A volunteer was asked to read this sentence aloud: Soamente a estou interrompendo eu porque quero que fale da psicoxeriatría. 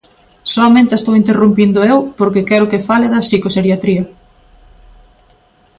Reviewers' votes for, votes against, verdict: 0, 2, rejected